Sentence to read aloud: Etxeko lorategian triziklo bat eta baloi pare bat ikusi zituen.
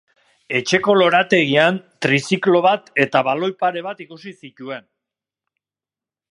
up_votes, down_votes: 2, 0